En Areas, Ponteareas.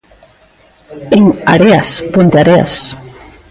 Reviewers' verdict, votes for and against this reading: rejected, 1, 2